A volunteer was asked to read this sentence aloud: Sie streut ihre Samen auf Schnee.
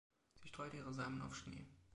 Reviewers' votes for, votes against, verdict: 0, 2, rejected